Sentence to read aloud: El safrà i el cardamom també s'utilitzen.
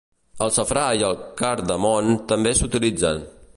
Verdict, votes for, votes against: rejected, 0, 2